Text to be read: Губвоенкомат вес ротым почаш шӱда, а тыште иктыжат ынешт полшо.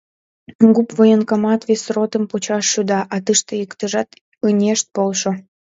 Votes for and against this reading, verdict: 2, 0, accepted